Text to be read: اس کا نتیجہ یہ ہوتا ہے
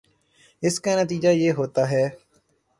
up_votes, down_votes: 3, 0